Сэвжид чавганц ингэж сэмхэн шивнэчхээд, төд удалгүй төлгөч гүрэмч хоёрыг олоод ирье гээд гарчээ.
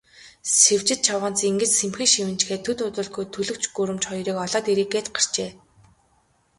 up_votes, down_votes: 6, 0